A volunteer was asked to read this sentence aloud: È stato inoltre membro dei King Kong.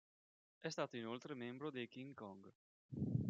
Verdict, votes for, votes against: rejected, 1, 2